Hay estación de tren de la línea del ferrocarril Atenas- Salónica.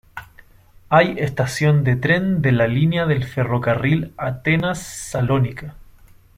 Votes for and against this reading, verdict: 2, 0, accepted